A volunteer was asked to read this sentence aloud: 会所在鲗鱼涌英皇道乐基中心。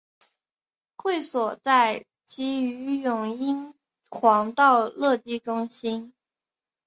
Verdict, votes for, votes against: accepted, 2, 0